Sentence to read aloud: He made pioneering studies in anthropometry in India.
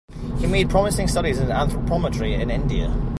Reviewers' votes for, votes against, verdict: 2, 3, rejected